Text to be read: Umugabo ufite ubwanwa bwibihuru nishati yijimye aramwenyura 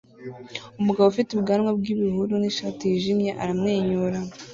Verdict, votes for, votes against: accepted, 2, 0